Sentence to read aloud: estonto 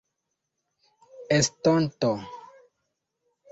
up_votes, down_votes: 2, 0